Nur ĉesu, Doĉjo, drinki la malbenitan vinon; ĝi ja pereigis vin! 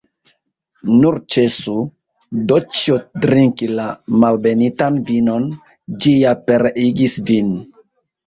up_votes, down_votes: 2, 1